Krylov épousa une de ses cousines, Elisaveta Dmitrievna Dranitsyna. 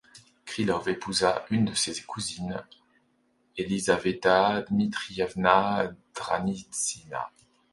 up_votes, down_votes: 0, 2